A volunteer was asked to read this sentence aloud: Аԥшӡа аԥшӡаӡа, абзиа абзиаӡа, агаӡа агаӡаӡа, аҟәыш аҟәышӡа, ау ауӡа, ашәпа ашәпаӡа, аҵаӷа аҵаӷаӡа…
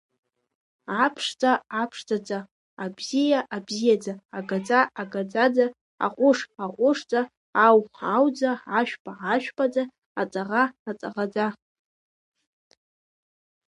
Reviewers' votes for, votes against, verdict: 1, 2, rejected